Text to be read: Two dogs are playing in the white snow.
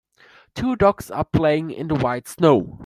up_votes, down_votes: 2, 0